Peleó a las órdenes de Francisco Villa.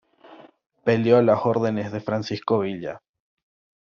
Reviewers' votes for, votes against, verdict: 2, 0, accepted